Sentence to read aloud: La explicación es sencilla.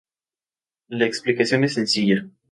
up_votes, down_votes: 2, 0